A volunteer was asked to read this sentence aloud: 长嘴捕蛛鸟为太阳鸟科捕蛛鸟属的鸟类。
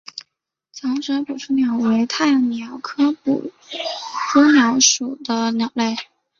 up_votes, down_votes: 2, 0